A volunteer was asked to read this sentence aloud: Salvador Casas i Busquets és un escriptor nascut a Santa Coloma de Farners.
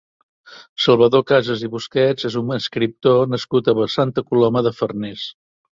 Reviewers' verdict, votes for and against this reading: rejected, 1, 2